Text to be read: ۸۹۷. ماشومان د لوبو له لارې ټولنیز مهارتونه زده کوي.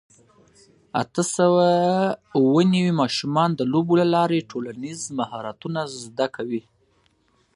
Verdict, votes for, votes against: rejected, 0, 2